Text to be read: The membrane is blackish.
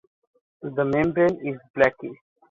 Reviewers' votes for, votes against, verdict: 1, 2, rejected